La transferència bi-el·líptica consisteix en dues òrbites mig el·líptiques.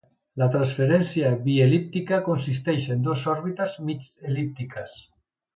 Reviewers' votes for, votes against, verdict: 1, 2, rejected